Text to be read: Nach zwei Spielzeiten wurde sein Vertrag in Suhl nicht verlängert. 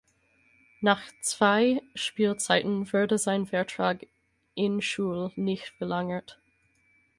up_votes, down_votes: 2, 4